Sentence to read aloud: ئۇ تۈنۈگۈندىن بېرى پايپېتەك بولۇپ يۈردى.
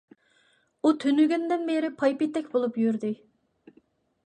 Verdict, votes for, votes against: accepted, 2, 0